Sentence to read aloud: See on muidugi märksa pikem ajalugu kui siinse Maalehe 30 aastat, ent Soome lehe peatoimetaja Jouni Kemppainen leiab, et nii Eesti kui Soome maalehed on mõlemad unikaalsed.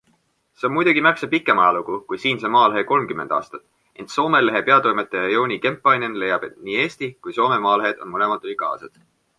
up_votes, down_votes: 0, 2